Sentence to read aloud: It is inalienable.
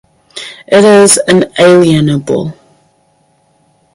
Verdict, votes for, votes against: accepted, 4, 0